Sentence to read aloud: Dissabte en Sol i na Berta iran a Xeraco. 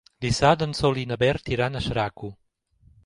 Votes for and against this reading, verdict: 1, 3, rejected